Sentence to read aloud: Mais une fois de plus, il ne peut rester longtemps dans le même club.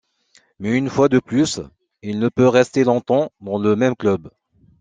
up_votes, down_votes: 2, 0